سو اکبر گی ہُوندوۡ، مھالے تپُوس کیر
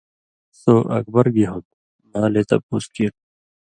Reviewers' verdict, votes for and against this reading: accepted, 2, 0